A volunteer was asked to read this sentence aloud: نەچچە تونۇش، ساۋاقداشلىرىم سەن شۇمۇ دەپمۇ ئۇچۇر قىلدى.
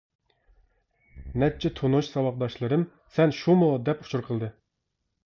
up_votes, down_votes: 1, 2